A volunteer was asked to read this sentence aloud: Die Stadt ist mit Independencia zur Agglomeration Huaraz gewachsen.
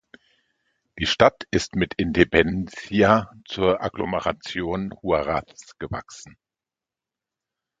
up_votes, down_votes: 1, 2